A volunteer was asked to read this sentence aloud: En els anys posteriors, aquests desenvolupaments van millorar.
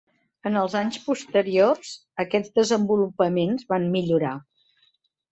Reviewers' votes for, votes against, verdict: 3, 0, accepted